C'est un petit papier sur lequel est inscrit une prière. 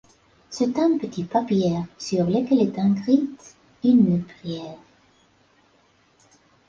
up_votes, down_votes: 0, 2